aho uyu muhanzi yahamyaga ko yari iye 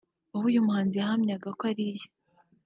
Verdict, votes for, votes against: rejected, 2, 3